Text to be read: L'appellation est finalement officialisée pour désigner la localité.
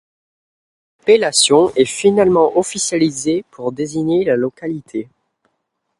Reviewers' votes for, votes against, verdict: 1, 2, rejected